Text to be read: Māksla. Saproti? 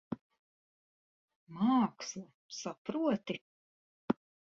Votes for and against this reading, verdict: 4, 0, accepted